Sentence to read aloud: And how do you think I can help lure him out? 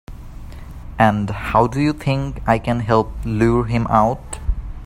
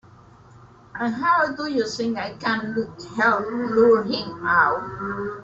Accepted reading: first